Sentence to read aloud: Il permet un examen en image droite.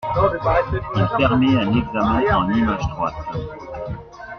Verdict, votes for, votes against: accepted, 2, 1